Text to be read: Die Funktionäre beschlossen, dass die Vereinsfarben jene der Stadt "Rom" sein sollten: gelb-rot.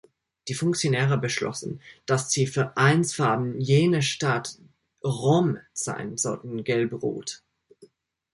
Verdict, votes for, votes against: rejected, 1, 2